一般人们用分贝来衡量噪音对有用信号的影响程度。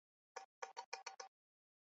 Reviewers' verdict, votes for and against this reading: rejected, 0, 2